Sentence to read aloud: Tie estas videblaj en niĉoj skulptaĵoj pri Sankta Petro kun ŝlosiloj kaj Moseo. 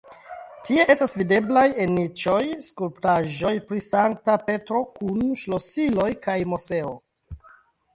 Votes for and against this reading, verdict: 0, 2, rejected